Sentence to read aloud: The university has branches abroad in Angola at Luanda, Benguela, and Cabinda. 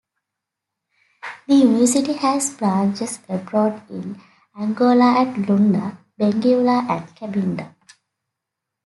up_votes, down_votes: 2, 1